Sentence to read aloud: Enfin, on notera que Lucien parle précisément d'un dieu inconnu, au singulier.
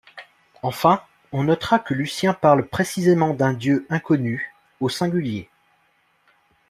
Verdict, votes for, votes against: accepted, 2, 0